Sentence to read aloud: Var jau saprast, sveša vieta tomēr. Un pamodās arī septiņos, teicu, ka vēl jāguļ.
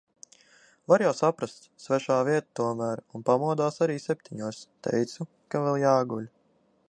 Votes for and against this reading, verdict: 0, 2, rejected